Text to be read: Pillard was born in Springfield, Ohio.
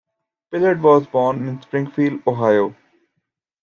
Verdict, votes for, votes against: accepted, 2, 0